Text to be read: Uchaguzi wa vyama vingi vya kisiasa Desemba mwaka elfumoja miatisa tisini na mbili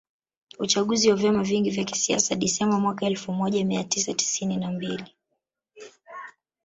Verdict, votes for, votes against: rejected, 1, 2